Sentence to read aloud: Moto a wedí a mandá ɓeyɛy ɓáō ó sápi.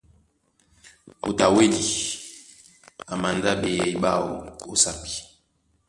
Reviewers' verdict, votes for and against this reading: accepted, 2, 0